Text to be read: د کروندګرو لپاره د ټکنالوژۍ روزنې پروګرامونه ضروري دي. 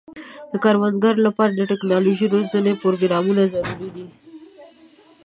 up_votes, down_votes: 1, 2